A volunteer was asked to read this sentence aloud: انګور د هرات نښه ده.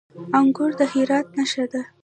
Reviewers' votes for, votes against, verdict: 2, 1, accepted